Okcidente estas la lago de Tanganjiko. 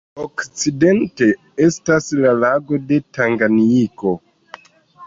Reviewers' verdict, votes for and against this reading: rejected, 1, 2